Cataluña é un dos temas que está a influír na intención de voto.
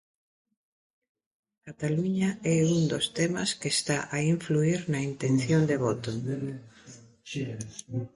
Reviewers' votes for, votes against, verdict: 2, 1, accepted